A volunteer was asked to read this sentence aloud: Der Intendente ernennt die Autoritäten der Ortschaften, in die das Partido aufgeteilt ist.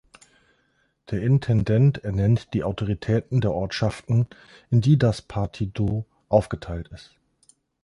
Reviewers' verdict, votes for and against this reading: rejected, 0, 2